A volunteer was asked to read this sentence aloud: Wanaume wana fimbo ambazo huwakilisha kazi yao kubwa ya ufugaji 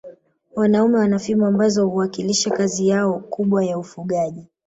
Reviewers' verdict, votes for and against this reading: accepted, 2, 0